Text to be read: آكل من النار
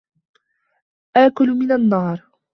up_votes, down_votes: 2, 0